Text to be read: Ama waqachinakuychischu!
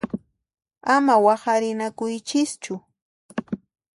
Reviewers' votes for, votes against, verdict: 1, 2, rejected